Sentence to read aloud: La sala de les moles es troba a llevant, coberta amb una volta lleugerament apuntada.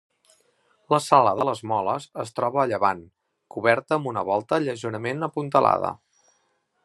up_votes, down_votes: 0, 2